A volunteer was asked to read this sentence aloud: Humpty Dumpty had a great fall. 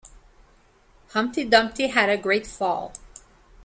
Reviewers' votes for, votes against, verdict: 2, 0, accepted